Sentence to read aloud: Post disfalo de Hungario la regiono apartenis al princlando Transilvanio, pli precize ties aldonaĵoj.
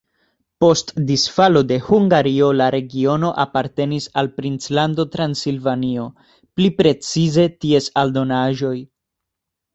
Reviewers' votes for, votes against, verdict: 2, 0, accepted